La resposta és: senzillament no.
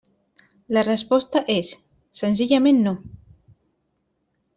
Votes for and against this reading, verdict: 3, 0, accepted